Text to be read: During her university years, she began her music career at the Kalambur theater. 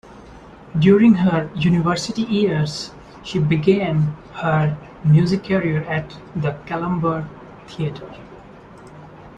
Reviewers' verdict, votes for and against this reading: accepted, 2, 0